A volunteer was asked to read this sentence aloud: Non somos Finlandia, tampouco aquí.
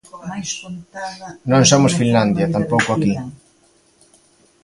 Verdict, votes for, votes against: rejected, 0, 2